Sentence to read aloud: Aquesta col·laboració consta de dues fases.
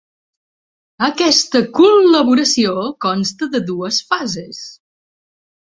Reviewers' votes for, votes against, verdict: 3, 0, accepted